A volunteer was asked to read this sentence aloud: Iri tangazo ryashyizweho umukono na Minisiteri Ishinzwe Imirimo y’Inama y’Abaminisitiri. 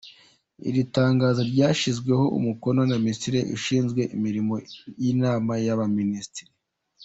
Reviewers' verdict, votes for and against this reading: rejected, 0, 2